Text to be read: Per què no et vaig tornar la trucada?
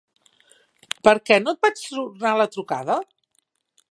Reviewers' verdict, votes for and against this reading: rejected, 0, 2